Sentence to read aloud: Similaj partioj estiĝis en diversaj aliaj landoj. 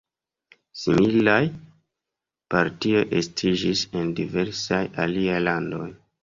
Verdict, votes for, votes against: accepted, 2, 0